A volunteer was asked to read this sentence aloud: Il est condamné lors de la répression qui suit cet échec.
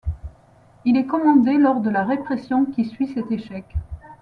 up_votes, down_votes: 1, 2